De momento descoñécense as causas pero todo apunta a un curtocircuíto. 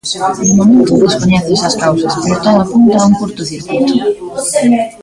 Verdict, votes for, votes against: rejected, 0, 2